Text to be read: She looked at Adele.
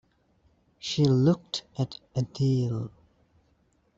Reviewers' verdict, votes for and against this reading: accepted, 2, 1